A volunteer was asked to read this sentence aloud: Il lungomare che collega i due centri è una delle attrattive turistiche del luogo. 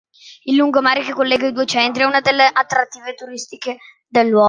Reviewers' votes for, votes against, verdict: 1, 2, rejected